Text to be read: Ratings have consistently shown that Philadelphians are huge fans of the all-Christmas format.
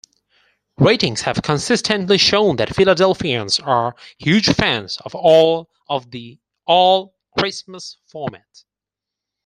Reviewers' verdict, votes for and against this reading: rejected, 0, 4